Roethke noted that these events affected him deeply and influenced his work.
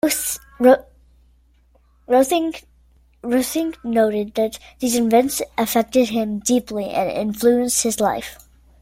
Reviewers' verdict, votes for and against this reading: rejected, 0, 2